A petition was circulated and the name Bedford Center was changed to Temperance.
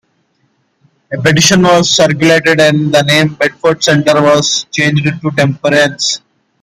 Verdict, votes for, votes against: accepted, 2, 1